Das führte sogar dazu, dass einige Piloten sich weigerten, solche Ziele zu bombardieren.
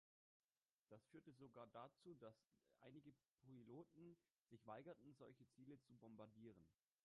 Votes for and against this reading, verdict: 1, 2, rejected